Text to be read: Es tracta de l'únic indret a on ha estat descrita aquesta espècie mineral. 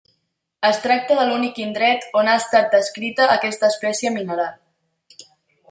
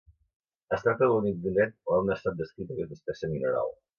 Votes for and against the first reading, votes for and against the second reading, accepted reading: 2, 0, 0, 2, first